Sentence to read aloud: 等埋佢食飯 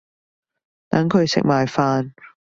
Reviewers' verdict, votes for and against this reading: rejected, 0, 2